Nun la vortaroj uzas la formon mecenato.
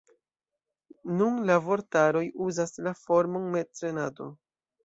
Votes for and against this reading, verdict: 2, 0, accepted